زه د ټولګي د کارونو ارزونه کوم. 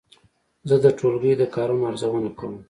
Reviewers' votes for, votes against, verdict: 2, 0, accepted